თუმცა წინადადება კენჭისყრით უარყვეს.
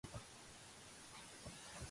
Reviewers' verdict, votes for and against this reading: rejected, 0, 2